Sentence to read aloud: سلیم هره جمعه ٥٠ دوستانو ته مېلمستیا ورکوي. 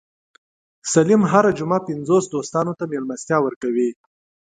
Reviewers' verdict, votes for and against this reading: rejected, 0, 2